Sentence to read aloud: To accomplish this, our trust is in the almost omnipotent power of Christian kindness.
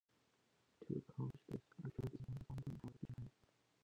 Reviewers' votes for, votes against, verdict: 0, 2, rejected